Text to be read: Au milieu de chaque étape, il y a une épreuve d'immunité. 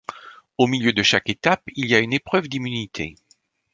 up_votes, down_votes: 2, 0